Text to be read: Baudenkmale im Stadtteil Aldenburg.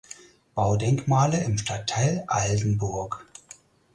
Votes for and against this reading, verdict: 4, 0, accepted